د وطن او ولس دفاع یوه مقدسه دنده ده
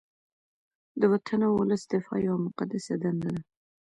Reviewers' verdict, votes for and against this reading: rejected, 0, 2